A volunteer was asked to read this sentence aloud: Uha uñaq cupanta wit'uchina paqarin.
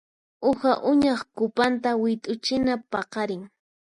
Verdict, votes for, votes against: accepted, 4, 0